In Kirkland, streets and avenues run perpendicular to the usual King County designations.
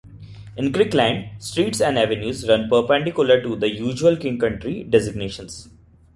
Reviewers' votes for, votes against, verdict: 1, 2, rejected